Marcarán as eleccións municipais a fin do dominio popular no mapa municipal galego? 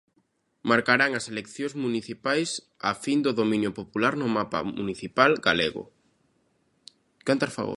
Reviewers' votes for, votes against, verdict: 0, 2, rejected